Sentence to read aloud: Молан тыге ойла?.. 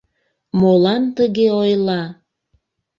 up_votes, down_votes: 2, 0